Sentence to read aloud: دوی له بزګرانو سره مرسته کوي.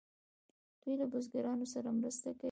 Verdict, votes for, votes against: accepted, 2, 0